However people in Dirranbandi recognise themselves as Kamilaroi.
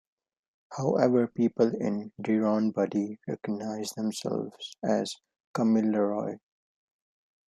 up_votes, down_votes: 1, 2